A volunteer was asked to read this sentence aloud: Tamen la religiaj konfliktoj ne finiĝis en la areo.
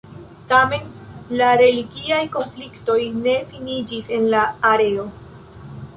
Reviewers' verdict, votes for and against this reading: rejected, 1, 2